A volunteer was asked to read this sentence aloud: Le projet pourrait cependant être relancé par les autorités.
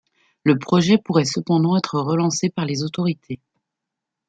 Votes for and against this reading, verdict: 2, 0, accepted